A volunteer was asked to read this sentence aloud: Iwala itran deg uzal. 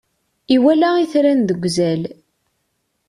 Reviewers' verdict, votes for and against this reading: accepted, 2, 0